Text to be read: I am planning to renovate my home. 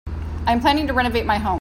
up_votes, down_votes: 2, 0